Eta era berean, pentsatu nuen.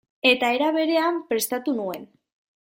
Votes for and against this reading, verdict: 0, 2, rejected